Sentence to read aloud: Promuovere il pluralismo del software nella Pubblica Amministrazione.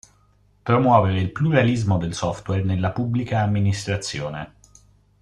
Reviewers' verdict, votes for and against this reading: accepted, 2, 0